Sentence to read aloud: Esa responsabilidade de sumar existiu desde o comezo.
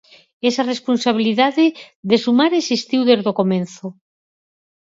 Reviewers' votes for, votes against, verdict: 2, 4, rejected